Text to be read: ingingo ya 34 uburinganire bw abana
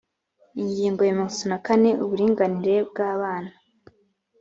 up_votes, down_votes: 0, 2